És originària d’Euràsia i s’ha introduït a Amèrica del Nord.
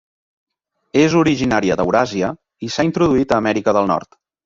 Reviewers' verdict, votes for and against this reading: accepted, 3, 0